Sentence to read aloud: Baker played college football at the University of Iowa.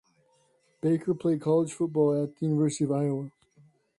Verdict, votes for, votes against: accepted, 2, 0